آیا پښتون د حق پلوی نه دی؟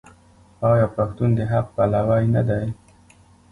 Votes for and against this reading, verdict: 0, 2, rejected